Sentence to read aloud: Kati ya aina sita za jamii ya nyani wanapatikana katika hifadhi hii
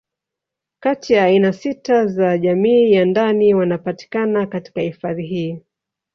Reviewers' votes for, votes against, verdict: 1, 2, rejected